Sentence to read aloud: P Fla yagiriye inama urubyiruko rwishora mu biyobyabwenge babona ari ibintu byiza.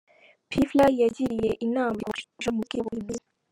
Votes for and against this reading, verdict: 0, 2, rejected